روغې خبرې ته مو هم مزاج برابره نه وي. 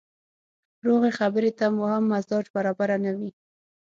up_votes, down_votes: 6, 0